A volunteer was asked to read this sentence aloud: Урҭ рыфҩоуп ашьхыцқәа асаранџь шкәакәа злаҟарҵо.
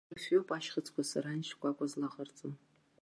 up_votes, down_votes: 0, 2